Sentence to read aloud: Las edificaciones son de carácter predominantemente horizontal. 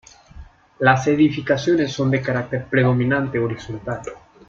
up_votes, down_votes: 1, 2